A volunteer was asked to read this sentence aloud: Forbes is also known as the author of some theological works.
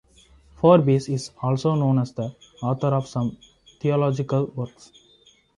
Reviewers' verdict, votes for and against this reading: rejected, 1, 2